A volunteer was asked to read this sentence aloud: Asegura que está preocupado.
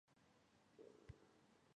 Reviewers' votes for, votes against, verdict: 0, 2, rejected